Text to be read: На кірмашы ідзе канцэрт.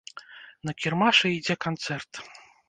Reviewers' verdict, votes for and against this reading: rejected, 0, 2